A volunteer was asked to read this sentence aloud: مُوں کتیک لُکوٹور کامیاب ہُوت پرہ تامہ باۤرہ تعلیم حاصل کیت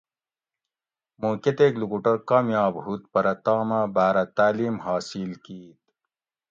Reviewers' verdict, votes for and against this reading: accepted, 2, 0